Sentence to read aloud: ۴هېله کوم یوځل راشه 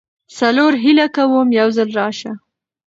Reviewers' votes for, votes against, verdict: 0, 2, rejected